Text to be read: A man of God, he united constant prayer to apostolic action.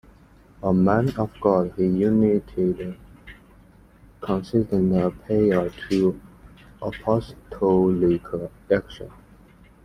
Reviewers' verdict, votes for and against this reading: rejected, 0, 2